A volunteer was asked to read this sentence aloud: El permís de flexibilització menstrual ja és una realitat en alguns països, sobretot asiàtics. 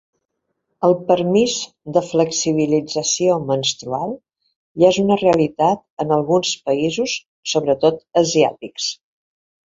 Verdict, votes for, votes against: accepted, 2, 0